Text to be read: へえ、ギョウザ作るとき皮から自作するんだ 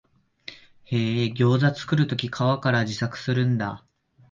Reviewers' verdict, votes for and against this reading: accepted, 2, 0